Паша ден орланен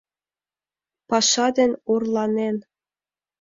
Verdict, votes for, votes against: accepted, 3, 0